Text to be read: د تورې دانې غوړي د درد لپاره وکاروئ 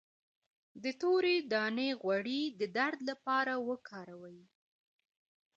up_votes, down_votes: 1, 2